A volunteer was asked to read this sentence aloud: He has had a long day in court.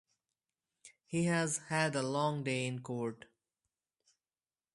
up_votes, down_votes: 4, 0